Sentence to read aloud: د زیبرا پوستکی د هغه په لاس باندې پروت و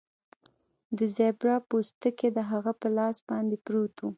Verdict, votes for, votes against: rejected, 1, 2